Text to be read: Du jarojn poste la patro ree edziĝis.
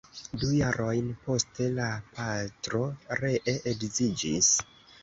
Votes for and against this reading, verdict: 2, 1, accepted